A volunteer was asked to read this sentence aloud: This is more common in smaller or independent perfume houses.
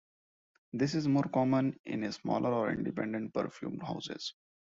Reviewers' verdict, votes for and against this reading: accepted, 2, 0